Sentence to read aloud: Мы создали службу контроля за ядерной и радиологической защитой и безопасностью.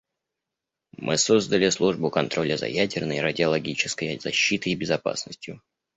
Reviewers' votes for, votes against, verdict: 1, 2, rejected